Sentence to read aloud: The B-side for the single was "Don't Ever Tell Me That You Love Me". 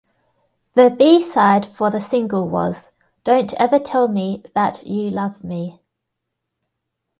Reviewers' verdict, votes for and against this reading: accepted, 2, 0